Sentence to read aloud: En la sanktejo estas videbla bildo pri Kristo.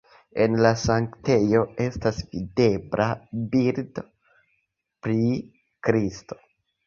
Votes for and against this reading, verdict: 2, 0, accepted